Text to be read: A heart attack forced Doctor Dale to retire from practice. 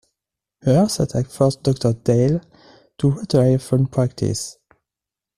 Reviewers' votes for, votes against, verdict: 1, 2, rejected